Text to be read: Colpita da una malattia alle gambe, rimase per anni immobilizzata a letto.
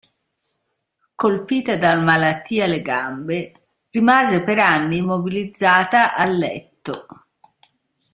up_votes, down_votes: 0, 2